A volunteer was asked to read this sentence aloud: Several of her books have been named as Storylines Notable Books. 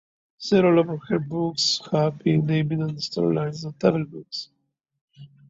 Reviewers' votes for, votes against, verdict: 1, 2, rejected